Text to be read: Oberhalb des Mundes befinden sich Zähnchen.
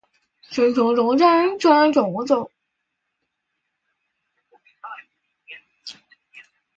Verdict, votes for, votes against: rejected, 0, 2